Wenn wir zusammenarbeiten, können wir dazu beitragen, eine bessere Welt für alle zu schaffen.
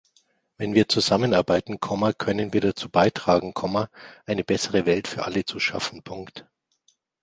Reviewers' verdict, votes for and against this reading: rejected, 0, 2